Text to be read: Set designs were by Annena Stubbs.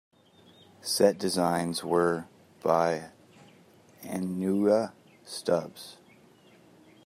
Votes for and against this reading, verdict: 1, 2, rejected